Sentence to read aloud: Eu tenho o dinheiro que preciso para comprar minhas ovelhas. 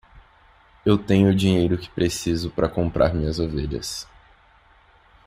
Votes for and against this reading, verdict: 2, 0, accepted